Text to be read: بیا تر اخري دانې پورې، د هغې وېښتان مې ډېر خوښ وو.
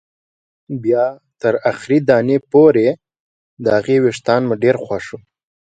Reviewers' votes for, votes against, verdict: 2, 0, accepted